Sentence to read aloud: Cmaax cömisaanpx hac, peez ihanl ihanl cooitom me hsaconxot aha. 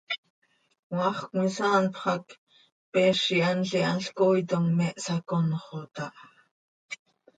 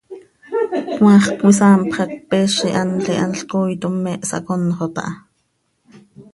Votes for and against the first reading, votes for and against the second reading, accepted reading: 2, 0, 1, 2, first